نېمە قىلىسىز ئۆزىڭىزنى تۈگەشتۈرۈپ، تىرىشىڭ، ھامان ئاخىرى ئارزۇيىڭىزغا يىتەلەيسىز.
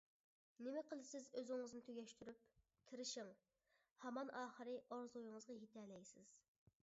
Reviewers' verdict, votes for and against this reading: rejected, 1, 2